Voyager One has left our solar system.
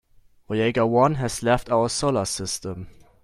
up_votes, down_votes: 1, 2